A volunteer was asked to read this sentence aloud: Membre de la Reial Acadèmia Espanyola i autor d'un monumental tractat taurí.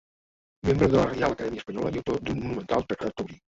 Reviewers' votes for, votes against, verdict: 0, 3, rejected